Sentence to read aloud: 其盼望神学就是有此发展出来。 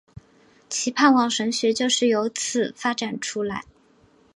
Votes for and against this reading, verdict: 2, 0, accepted